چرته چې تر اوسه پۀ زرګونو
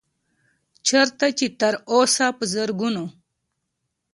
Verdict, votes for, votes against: accepted, 2, 0